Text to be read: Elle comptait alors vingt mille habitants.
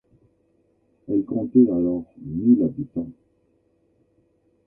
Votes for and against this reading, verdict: 0, 2, rejected